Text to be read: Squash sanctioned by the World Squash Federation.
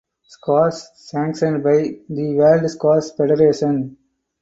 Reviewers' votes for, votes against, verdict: 4, 2, accepted